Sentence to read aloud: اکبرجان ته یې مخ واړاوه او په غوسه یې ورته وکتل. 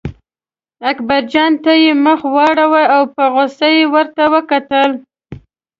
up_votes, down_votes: 2, 0